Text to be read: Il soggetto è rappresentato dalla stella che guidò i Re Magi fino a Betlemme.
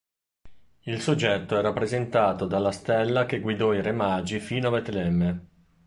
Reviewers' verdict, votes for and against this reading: accepted, 2, 0